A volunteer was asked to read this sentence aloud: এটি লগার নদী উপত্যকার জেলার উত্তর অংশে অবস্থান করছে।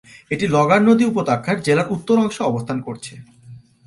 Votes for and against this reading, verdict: 1, 2, rejected